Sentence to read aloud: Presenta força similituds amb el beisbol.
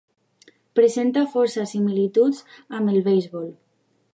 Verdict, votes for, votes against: accepted, 3, 0